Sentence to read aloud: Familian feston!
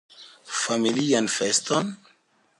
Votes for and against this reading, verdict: 3, 0, accepted